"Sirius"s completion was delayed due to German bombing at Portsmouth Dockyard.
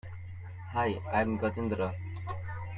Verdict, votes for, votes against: rejected, 0, 2